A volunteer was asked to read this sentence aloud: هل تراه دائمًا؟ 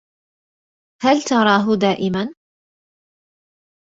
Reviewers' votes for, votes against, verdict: 2, 0, accepted